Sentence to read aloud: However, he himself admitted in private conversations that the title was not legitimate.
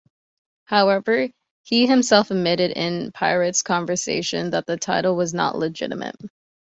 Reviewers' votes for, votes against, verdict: 2, 0, accepted